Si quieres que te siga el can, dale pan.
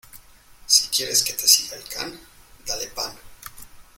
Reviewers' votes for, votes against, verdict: 0, 2, rejected